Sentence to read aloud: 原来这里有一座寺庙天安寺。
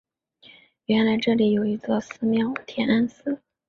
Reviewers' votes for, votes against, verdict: 3, 0, accepted